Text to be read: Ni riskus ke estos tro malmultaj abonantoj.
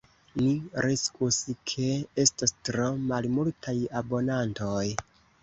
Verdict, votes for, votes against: rejected, 1, 2